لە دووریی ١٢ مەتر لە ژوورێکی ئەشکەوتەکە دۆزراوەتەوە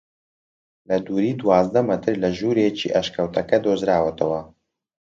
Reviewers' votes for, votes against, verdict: 0, 2, rejected